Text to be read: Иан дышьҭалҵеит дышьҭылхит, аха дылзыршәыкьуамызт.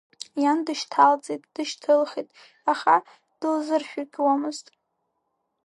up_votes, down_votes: 3, 1